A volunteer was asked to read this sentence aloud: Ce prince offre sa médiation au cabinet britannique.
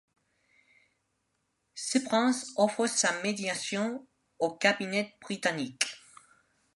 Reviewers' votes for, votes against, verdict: 2, 0, accepted